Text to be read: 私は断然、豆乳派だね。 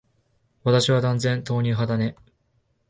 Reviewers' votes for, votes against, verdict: 2, 0, accepted